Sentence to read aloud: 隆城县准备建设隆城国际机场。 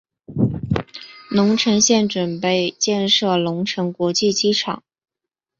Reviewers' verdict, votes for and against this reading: accepted, 2, 1